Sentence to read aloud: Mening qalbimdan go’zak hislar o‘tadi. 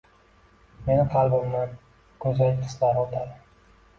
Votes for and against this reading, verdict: 1, 2, rejected